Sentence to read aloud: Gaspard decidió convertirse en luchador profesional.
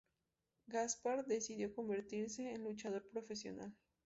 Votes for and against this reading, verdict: 2, 0, accepted